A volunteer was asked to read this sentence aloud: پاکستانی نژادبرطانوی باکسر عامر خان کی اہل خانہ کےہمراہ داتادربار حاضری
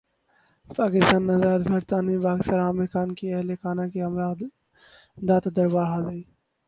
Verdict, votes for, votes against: rejected, 0, 8